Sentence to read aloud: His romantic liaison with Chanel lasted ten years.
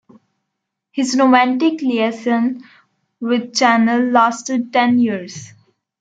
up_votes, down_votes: 1, 2